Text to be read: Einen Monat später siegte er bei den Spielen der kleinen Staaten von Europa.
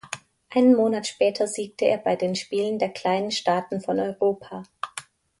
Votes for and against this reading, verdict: 2, 0, accepted